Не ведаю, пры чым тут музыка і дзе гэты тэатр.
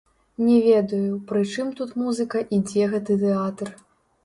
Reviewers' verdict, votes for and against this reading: rejected, 1, 2